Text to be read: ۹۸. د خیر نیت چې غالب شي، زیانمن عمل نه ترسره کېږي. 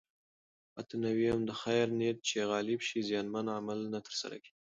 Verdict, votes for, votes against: rejected, 0, 2